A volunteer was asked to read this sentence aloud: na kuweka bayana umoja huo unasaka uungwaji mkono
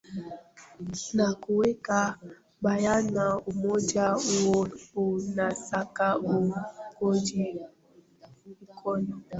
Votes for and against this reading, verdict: 0, 2, rejected